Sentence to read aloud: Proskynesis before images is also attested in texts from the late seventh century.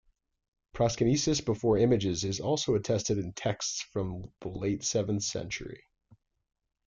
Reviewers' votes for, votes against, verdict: 2, 1, accepted